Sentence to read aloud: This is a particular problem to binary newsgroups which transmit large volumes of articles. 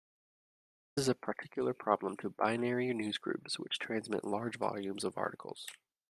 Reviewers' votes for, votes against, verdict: 1, 2, rejected